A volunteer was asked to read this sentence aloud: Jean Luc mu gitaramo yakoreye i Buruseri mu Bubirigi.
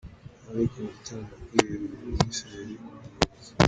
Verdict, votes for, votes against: rejected, 1, 2